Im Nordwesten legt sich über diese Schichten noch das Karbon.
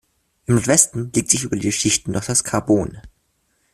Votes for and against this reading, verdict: 1, 2, rejected